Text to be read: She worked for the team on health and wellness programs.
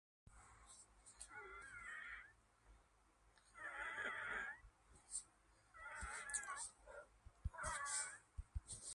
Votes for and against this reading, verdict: 0, 2, rejected